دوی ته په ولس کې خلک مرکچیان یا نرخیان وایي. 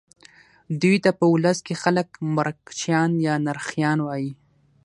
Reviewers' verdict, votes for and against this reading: rejected, 0, 3